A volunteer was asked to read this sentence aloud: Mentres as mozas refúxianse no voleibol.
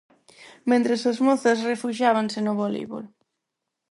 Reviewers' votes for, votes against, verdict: 0, 4, rejected